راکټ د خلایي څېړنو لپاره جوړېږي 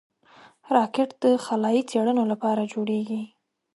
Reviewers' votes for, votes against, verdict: 2, 0, accepted